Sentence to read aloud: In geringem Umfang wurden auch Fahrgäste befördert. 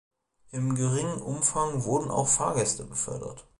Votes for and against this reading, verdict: 0, 2, rejected